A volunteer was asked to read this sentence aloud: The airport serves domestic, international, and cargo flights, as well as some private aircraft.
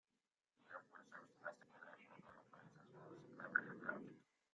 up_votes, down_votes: 0, 2